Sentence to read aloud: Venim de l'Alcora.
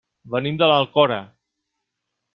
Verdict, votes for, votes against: accepted, 3, 0